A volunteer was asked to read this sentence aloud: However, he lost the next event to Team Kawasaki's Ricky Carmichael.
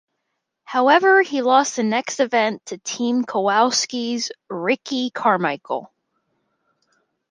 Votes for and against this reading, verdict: 1, 2, rejected